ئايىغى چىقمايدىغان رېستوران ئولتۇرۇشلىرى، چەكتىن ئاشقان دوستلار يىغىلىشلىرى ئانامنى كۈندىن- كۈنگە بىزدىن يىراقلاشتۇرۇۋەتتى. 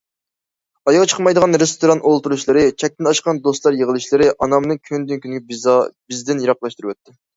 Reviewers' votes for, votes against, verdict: 0, 2, rejected